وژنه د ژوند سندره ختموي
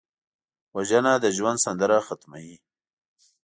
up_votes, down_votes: 2, 0